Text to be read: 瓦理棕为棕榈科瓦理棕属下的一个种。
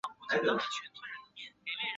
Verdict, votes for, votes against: rejected, 0, 2